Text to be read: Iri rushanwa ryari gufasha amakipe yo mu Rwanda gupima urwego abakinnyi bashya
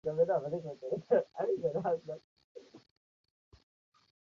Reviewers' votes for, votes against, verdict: 0, 2, rejected